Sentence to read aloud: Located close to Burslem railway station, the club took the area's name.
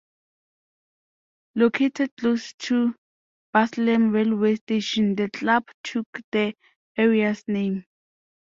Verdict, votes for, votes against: accepted, 2, 0